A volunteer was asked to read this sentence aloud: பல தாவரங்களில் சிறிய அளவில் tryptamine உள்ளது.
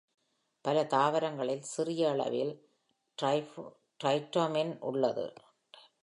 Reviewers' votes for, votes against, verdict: 1, 2, rejected